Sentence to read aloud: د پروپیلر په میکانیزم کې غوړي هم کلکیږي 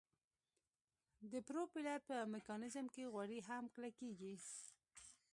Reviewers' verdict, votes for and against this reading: accepted, 2, 0